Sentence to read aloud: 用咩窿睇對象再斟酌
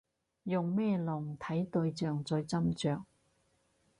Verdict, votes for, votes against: rejected, 2, 2